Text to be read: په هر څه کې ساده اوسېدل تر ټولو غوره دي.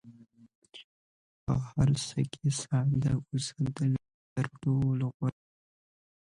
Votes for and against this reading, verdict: 1, 2, rejected